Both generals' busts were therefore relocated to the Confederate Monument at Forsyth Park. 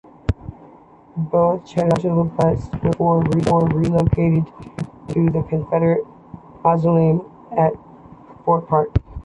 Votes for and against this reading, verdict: 2, 0, accepted